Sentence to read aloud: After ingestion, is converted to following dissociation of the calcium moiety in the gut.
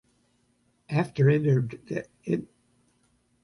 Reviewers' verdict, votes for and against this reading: rejected, 0, 2